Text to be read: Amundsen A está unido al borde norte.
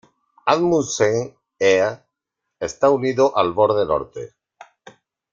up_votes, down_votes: 1, 2